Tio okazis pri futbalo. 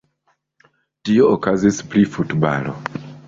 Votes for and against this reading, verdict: 2, 1, accepted